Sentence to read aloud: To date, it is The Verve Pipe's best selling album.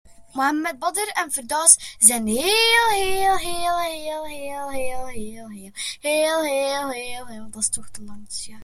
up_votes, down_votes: 0, 2